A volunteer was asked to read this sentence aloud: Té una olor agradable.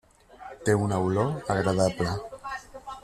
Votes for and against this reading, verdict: 3, 0, accepted